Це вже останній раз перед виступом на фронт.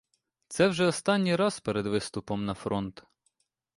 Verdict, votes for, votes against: accepted, 2, 0